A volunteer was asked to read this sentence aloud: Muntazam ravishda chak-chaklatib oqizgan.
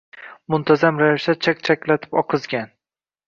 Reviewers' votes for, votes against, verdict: 2, 0, accepted